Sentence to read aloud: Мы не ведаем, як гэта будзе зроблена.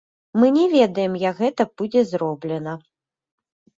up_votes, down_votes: 2, 0